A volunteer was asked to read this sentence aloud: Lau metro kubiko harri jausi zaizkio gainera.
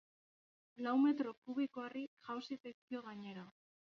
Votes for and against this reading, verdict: 2, 1, accepted